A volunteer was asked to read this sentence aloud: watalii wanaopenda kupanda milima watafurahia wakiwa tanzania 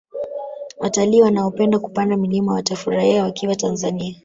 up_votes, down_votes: 0, 2